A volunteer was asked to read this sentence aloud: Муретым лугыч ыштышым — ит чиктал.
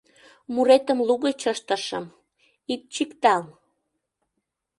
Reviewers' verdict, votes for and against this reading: accepted, 2, 0